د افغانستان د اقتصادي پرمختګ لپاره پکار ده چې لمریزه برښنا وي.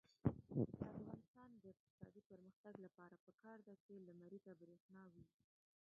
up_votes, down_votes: 1, 2